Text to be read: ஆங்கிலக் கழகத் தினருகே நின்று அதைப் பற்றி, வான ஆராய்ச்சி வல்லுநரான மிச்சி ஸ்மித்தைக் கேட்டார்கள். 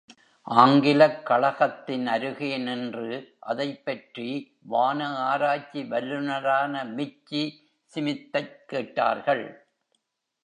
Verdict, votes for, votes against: rejected, 1, 2